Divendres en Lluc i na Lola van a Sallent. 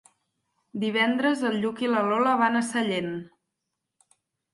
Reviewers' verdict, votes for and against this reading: rejected, 2, 4